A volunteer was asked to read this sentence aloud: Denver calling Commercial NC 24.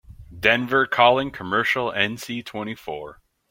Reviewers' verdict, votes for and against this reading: rejected, 0, 2